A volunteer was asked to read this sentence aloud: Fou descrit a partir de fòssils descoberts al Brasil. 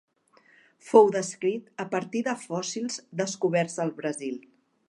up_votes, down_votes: 4, 1